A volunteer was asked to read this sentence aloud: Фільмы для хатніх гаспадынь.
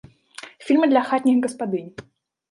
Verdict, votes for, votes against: rejected, 1, 2